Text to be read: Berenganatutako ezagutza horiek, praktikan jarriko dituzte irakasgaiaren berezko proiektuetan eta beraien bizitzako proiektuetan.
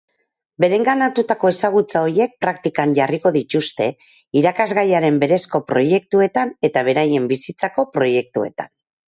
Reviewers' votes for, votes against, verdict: 4, 2, accepted